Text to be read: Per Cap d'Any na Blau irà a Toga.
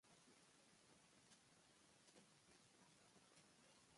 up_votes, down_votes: 0, 2